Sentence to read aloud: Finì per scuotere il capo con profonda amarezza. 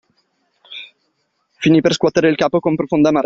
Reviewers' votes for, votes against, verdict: 0, 2, rejected